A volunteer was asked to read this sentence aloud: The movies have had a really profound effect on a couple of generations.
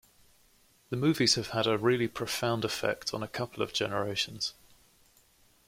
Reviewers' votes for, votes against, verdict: 2, 0, accepted